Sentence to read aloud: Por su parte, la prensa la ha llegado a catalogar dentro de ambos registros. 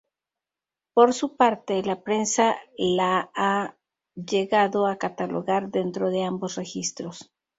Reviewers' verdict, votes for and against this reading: rejected, 2, 2